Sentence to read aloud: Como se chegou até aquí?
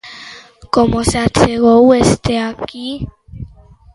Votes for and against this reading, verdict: 0, 2, rejected